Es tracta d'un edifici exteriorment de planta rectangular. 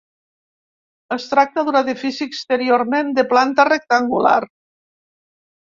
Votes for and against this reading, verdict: 2, 0, accepted